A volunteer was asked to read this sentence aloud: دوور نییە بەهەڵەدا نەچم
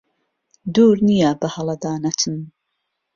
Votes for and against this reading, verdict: 3, 0, accepted